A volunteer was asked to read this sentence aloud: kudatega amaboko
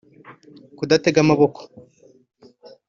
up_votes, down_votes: 2, 0